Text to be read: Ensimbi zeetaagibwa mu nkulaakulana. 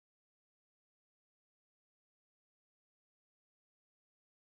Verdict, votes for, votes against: rejected, 0, 2